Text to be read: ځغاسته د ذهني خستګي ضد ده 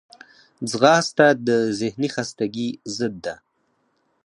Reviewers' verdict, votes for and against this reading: accepted, 4, 0